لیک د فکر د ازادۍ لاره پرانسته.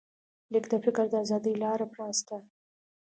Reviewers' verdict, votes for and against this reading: accepted, 2, 0